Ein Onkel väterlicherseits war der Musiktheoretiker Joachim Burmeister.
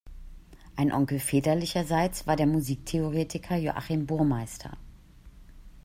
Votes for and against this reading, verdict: 2, 0, accepted